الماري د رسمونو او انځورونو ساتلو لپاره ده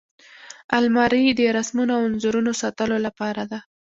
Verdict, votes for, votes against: accepted, 2, 0